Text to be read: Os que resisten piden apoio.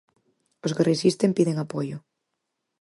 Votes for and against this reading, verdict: 4, 0, accepted